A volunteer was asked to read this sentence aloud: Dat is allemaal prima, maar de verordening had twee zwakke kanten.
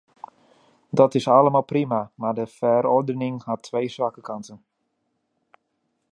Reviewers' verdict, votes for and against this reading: rejected, 0, 2